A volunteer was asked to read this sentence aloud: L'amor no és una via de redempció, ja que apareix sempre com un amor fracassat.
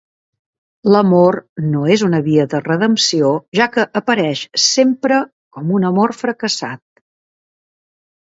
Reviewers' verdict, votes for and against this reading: accepted, 2, 0